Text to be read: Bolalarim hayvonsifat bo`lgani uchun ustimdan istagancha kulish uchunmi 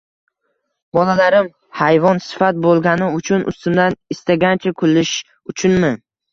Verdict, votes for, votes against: rejected, 1, 2